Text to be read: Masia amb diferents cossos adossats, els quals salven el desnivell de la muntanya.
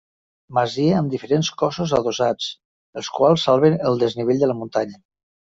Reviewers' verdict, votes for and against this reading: accepted, 3, 0